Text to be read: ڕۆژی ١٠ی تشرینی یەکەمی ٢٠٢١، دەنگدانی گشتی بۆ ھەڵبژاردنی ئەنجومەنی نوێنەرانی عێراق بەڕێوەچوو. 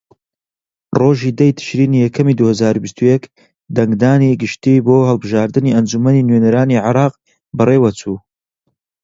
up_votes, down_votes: 0, 2